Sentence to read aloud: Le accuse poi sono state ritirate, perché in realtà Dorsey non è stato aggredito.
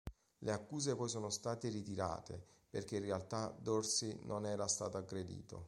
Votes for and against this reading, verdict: 1, 2, rejected